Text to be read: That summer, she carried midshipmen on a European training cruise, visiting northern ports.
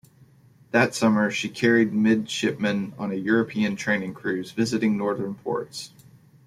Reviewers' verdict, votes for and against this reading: accepted, 2, 1